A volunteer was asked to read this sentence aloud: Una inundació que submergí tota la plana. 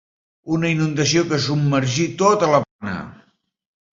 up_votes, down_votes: 1, 2